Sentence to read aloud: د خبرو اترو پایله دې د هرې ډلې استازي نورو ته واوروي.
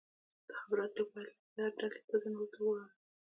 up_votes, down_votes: 1, 2